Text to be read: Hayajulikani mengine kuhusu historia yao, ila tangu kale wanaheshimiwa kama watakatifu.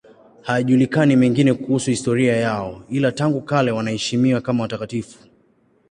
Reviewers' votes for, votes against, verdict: 2, 0, accepted